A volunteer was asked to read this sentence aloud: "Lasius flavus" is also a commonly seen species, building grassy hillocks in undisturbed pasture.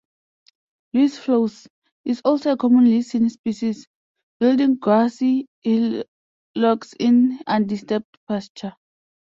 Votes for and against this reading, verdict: 0, 2, rejected